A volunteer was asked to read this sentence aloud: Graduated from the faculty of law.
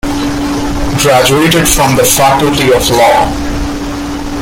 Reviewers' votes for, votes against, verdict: 2, 1, accepted